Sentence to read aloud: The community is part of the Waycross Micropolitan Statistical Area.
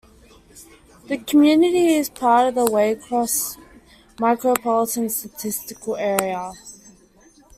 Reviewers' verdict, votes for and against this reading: rejected, 0, 2